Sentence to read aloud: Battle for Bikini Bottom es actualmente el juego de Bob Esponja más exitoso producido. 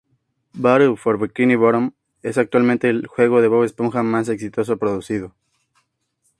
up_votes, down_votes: 2, 0